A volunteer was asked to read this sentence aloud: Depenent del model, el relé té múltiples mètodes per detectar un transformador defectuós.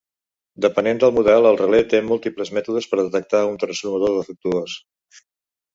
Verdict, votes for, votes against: rejected, 1, 2